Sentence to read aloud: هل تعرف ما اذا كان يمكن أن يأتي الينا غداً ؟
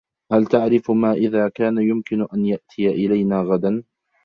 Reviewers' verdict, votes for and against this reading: rejected, 1, 2